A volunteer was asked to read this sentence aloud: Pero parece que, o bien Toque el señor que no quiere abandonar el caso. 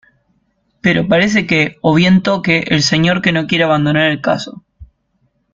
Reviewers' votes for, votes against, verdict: 2, 0, accepted